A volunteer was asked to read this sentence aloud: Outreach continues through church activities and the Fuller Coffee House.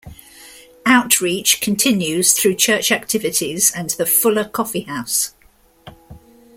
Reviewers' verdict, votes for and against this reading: accepted, 2, 0